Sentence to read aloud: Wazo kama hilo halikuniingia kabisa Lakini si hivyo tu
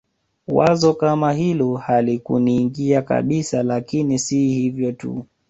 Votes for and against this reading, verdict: 2, 0, accepted